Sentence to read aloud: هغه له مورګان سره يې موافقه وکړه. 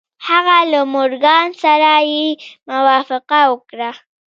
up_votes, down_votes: 2, 0